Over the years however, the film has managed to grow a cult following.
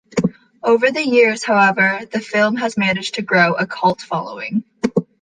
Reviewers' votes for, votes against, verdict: 2, 0, accepted